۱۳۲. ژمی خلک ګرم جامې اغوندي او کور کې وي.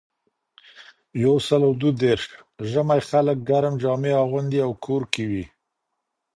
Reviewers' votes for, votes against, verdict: 0, 2, rejected